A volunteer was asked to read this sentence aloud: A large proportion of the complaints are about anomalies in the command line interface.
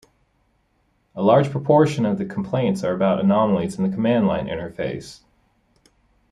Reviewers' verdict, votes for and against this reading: accepted, 2, 0